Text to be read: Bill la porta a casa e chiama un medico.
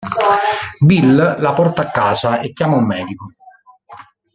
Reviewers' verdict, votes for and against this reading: rejected, 1, 2